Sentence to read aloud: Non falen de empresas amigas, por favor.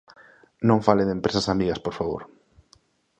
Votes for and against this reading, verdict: 1, 2, rejected